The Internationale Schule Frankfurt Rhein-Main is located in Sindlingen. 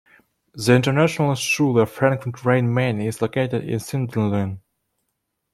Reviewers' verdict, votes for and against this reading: rejected, 0, 2